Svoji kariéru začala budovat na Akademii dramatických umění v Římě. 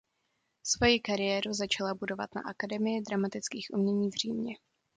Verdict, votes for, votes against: accepted, 2, 0